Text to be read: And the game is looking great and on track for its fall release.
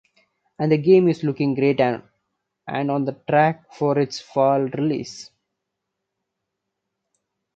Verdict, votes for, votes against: rejected, 1, 2